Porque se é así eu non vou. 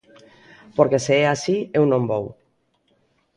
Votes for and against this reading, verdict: 2, 0, accepted